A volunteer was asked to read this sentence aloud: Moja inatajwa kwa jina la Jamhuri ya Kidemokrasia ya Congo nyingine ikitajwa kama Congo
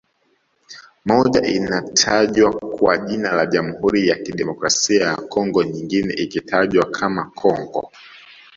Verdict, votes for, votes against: rejected, 1, 2